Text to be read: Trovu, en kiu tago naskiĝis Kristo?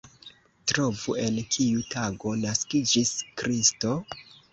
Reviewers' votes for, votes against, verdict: 2, 0, accepted